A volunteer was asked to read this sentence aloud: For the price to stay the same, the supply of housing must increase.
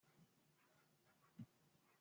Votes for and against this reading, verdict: 0, 2, rejected